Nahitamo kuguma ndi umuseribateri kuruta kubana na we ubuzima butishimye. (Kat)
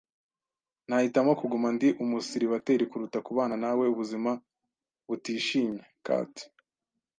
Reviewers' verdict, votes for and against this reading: accepted, 2, 0